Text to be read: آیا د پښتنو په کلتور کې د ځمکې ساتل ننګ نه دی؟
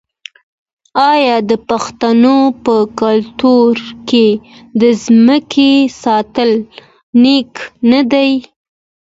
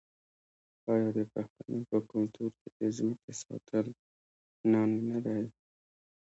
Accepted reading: second